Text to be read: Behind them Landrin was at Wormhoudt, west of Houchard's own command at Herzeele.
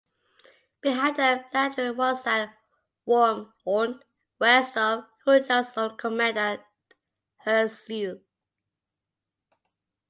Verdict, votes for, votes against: accepted, 2, 1